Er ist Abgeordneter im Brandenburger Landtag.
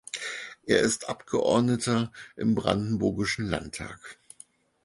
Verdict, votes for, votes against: rejected, 0, 4